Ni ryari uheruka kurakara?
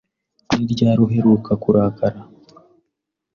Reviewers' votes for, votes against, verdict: 3, 0, accepted